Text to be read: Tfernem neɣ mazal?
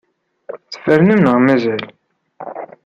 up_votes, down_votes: 2, 0